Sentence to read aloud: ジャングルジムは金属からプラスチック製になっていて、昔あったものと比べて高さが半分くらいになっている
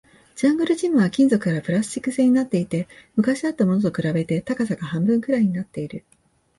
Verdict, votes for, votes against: accepted, 3, 0